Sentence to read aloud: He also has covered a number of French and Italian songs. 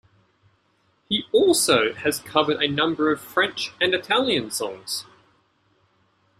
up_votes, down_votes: 2, 0